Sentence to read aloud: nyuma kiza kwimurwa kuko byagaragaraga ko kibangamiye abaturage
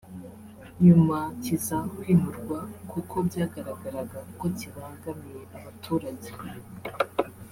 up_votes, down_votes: 2, 0